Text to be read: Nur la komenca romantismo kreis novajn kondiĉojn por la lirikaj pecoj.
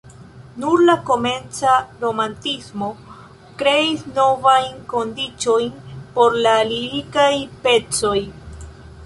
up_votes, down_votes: 2, 0